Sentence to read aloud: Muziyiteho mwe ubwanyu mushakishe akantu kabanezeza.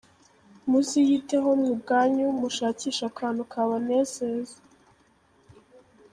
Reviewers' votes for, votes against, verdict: 3, 0, accepted